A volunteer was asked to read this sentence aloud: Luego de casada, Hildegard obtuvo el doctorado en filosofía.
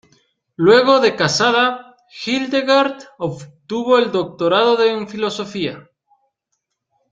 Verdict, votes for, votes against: rejected, 0, 2